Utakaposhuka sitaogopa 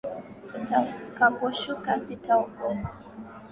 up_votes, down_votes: 2, 1